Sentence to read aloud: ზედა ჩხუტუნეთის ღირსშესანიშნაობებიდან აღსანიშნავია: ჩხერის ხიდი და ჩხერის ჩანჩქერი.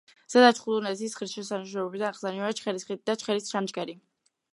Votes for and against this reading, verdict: 1, 2, rejected